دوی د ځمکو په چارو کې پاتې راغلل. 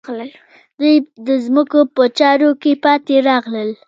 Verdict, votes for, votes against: accepted, 2, 0